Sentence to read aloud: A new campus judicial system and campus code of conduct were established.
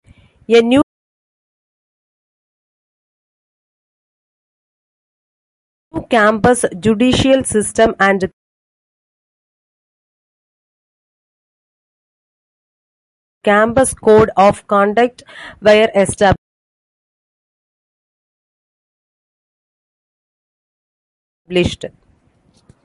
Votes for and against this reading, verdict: 0, 2, rejected